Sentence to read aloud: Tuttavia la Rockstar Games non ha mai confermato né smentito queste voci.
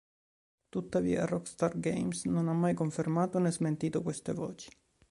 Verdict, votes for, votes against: rejected, 0, 2